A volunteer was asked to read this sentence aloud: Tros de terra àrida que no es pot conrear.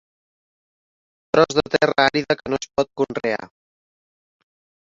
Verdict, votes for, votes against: accepted, 4, 1